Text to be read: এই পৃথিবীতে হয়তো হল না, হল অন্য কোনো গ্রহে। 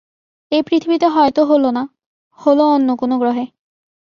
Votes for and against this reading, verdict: 3, 0, accepted